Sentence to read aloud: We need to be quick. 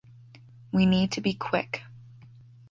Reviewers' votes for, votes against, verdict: 2, 0, accepted